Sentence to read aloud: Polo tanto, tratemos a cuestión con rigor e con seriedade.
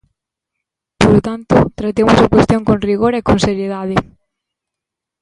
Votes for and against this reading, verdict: 1, 2, rejected